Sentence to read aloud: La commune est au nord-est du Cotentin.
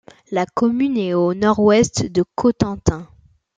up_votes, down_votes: 0, 2